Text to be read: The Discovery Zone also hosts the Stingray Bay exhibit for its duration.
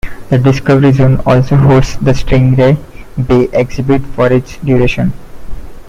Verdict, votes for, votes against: rejected, 1, 2